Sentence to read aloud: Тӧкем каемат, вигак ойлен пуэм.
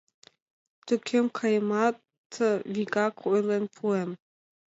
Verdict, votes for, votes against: accepted, 2, 0